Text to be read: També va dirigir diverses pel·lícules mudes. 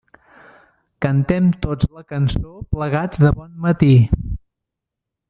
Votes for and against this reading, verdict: 0, 2, rejected